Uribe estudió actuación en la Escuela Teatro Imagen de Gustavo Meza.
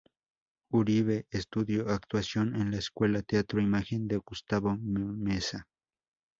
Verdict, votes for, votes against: rejected, 0, 2